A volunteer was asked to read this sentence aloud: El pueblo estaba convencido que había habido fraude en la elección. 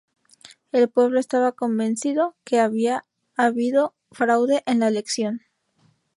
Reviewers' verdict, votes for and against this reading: rejected, 0, 2